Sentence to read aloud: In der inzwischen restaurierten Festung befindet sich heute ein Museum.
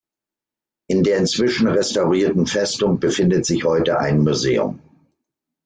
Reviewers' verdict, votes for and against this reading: accepted, 2, 0